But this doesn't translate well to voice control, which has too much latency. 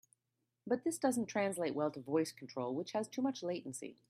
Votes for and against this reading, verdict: 3, 0, accepted